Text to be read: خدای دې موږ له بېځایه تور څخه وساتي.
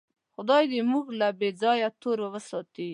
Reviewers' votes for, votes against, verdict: 0, 2, rejected